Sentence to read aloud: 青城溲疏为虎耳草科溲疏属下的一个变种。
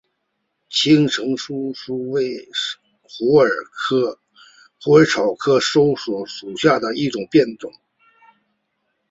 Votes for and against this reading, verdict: 1, 2, rejected